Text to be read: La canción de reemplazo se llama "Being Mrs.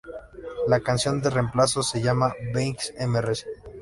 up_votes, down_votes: 2, 0